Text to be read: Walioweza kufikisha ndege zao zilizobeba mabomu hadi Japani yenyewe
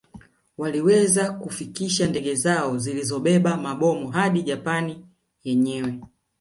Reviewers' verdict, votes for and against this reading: accepted, 3, 2